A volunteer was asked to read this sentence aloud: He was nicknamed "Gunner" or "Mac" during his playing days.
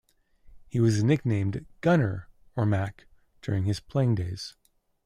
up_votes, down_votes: 2, 0